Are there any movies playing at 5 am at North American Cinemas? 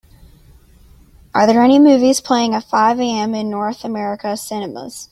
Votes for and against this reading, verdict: 0, 2, rejected